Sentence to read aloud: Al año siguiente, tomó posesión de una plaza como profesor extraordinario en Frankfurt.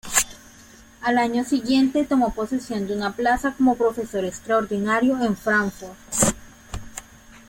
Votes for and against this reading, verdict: 1, 2, rejected